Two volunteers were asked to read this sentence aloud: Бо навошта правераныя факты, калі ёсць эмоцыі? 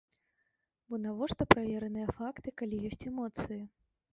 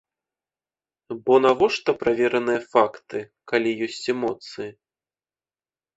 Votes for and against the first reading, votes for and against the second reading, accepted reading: 0, 2, 2, 0, second